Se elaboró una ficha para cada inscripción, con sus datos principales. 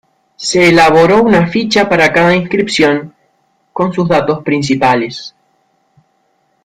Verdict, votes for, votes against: accepted, 2, 0